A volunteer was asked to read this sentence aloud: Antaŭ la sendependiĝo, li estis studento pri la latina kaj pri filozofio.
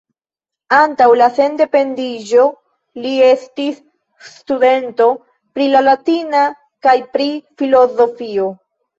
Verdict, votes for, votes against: accepted, 2, 1